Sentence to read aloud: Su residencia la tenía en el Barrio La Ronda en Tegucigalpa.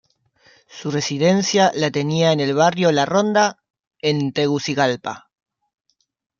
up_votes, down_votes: 2, 0